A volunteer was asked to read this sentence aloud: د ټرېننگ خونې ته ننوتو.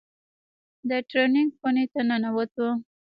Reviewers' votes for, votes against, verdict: 1, 2, rejected